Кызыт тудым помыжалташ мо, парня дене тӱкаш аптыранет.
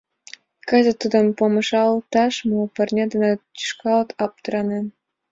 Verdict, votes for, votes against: rejected, 0, 2